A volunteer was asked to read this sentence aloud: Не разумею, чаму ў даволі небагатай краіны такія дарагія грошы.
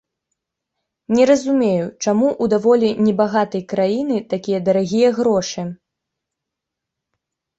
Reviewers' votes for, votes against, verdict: 2, 0, accepted